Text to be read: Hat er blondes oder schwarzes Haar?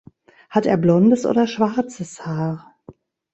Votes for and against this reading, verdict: 1, 2, rejected